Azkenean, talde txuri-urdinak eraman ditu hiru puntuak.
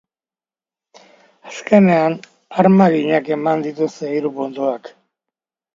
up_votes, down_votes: 0, 2